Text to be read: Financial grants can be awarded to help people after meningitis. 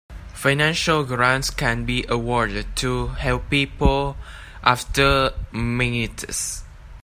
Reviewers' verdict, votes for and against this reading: rejected, 0, 2